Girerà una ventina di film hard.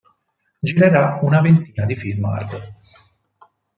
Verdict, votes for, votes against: accepted, 4, 0